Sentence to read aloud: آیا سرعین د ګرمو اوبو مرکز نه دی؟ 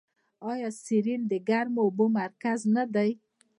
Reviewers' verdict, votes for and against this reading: accepted, 2, 0